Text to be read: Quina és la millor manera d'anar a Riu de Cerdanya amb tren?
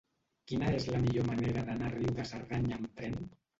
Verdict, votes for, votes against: rejected, 1, 3